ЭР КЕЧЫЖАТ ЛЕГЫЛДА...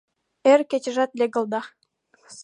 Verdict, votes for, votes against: rejected, 1, 2